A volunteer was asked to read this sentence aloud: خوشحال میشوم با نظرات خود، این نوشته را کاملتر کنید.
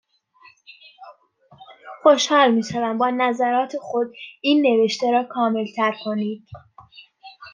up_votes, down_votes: 2, 0